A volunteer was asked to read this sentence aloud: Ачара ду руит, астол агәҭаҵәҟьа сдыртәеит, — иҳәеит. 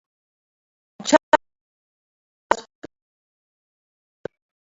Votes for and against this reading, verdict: 0, 2, rejected